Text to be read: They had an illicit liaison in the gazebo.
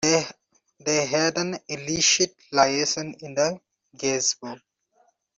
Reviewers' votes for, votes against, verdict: 0, 2, rejected